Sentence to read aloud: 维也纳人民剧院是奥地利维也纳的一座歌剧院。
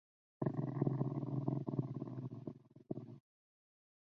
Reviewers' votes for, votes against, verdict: 0, 4, rejected